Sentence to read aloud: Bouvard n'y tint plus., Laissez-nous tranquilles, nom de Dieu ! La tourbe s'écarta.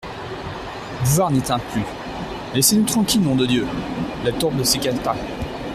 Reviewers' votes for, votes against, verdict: 1, 2, rejected